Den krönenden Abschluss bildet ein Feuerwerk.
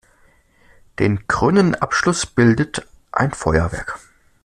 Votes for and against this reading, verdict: 2, 0, accepted